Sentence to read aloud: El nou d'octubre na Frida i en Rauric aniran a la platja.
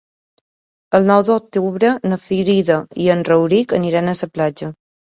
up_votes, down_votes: 1, 2